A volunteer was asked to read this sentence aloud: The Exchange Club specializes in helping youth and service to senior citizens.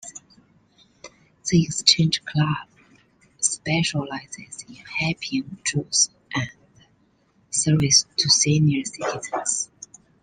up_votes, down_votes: 1, 2